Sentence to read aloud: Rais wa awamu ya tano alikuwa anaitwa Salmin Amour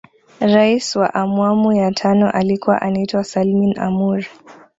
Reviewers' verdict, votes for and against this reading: rejected, 0, 2